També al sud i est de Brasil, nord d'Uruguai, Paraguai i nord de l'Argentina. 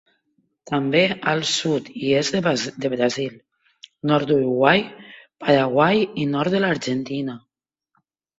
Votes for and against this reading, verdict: 0, 2, rejected